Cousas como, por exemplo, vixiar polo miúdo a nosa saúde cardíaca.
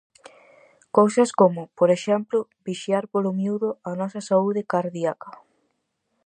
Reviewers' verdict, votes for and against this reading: rejected, 2, 2